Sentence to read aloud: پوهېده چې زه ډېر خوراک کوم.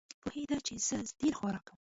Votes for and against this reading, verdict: 1, 2, rejected